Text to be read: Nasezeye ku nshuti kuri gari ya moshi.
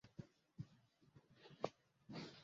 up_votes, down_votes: 0, 2